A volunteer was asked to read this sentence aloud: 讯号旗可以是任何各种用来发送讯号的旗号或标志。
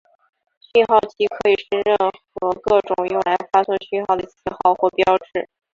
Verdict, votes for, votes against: rejected, 0, 2